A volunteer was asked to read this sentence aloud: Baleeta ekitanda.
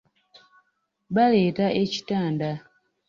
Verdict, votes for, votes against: rejected, 1, 2